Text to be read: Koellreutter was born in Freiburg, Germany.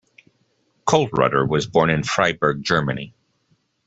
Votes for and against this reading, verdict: 2, 0, accepted